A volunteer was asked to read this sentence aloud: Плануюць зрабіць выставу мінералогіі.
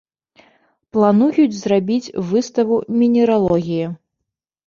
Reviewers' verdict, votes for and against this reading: rejected, 0, 2